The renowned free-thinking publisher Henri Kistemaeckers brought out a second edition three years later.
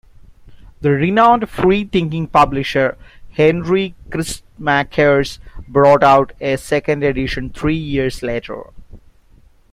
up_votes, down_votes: 0, 2